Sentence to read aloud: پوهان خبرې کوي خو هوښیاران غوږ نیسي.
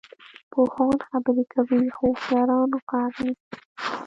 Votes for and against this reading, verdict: 1, 2, rejected